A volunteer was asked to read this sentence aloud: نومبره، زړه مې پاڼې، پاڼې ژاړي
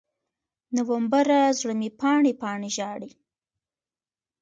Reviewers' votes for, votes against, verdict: 3, 1, accepted